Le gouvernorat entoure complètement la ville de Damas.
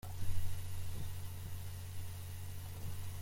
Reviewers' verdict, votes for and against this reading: rejected, 0, 3